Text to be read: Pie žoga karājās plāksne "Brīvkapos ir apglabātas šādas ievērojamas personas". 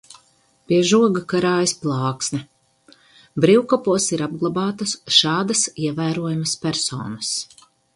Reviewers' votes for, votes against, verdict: 2, 4, rejected